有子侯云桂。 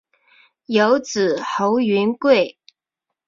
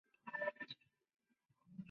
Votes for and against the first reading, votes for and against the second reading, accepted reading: 3, 0, 0, 2, first